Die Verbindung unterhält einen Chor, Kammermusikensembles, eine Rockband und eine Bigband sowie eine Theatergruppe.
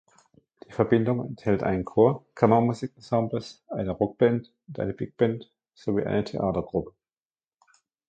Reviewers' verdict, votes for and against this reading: rejected, 1, 2